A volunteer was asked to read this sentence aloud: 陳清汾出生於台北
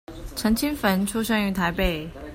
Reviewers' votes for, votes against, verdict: 2, 0, accepted